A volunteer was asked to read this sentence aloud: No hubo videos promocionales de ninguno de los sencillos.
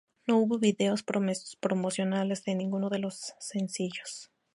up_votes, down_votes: 0, 2